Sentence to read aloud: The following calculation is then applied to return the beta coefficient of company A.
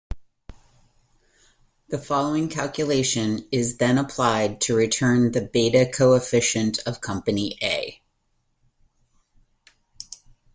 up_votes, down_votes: 2, 0